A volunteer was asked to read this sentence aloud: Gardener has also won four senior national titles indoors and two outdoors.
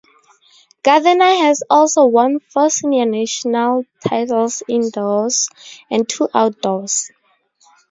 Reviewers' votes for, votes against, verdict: 8, 6, accepted